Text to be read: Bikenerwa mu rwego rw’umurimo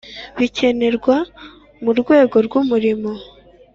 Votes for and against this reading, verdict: 4, 0, accepted